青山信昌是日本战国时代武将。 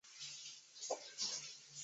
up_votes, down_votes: 1, 2